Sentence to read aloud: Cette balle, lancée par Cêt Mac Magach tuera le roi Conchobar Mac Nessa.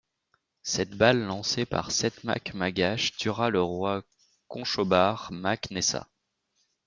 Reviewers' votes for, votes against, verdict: 2, 0, accepted